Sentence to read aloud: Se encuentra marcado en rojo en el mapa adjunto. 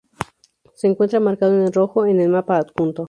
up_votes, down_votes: 0, 2